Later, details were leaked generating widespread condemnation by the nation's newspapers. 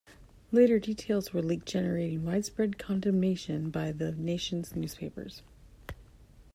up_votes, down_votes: 2, 0